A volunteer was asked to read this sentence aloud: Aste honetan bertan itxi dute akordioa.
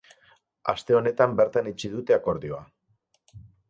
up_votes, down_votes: 4, 0